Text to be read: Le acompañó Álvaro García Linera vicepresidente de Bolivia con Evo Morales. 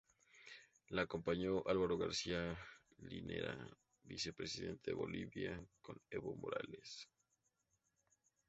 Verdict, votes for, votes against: accepted, 2, 0